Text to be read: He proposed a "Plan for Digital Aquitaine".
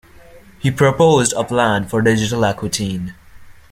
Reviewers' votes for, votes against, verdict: 2, 0, accepted